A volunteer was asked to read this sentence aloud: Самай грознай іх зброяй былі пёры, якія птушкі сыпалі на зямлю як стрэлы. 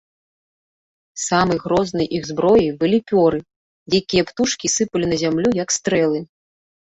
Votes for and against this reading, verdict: 2, 0, accepted